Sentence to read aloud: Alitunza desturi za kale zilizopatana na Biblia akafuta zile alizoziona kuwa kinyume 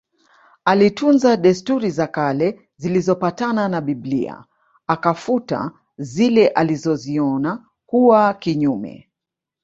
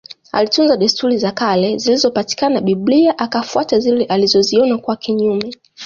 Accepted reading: first